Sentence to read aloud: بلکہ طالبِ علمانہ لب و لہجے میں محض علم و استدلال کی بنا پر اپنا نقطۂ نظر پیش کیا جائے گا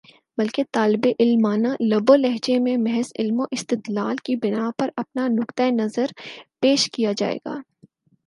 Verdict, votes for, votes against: accepted, 6, 0